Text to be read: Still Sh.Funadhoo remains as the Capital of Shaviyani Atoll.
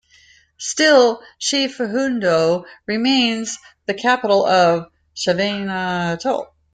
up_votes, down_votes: 0, 2